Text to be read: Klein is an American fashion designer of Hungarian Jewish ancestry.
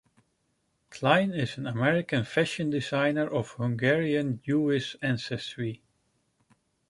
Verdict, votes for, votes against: accepted, 2, 0